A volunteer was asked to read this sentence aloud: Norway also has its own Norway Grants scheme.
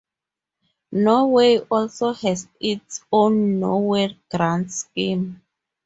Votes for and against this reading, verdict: 0, 2, rejected